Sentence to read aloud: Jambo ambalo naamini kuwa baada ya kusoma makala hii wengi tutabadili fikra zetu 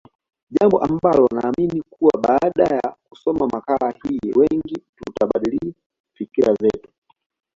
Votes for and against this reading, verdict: 2, 1, accepted